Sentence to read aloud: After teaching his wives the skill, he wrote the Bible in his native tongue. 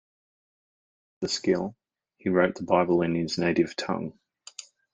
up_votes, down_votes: 0, 2